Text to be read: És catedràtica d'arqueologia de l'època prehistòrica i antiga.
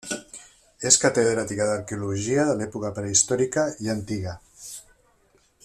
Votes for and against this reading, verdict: 2, 0, accepted